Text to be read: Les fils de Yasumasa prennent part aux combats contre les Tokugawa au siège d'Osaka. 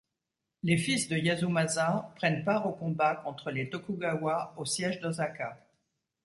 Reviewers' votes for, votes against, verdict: 2, 0, accepted